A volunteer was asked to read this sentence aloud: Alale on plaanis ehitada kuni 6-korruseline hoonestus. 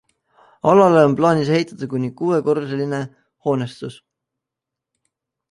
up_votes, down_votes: 0, 2